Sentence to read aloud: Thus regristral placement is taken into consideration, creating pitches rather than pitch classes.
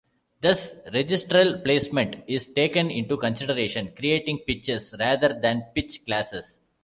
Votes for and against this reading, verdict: 2, 0, accepted